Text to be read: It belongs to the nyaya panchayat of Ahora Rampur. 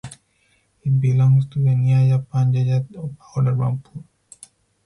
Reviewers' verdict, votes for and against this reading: rejected, 2, 4